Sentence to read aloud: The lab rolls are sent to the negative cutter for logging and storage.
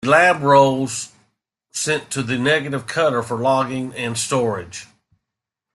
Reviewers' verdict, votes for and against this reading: rejected, 1, 2